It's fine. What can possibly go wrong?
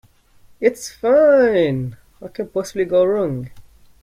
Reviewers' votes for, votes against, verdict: 2, 0, accepted